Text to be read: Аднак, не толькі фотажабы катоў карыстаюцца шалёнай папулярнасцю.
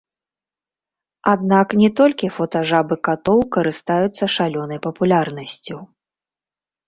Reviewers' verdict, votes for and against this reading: rejected, 1, 2